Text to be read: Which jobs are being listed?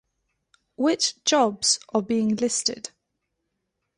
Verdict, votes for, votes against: accepted, 2, 0